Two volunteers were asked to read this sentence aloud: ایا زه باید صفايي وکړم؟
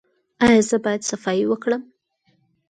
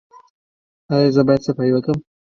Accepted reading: first